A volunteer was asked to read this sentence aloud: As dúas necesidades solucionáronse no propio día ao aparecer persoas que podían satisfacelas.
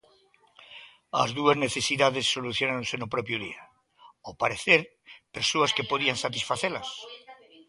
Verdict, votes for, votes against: rejected, 1, 2